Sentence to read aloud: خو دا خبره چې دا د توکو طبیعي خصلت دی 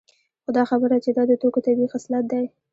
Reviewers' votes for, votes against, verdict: 2, 0, accepted